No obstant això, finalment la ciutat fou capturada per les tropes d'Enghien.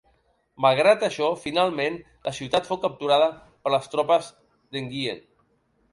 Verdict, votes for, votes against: rejected, 0, 2